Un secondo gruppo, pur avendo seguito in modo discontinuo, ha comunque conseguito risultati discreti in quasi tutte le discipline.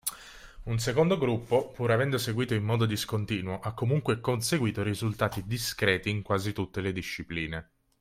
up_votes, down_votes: 2, 0